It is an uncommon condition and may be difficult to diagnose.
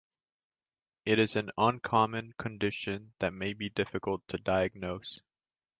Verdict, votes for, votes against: rejected, 1, 2